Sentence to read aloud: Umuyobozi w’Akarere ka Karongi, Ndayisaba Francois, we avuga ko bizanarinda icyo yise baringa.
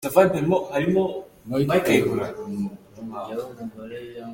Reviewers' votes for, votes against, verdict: 0, 2, rejected